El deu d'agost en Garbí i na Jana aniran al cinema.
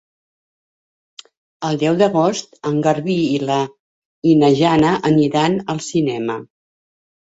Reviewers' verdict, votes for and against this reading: rejected, 1, 2